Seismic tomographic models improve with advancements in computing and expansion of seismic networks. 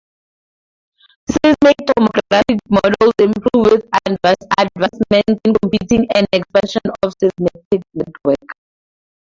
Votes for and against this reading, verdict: 0, 2, rejected